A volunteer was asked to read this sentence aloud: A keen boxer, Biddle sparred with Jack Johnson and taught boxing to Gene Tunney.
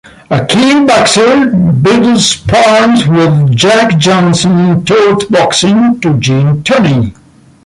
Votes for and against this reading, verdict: 2, 0, accepted